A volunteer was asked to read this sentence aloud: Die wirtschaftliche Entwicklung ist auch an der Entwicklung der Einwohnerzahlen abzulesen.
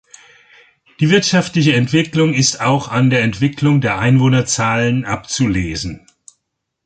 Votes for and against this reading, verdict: 2, 0, accepted